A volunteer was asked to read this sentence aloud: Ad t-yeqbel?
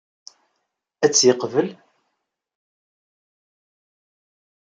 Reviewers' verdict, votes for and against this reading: rejected, 1, 2